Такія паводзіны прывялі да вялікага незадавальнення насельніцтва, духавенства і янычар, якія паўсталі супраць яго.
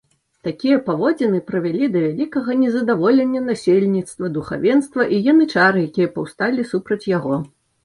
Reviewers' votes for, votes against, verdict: 1, 2, rejected